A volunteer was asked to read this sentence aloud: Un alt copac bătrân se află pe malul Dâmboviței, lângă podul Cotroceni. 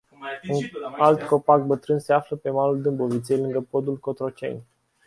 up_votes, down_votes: 0, 2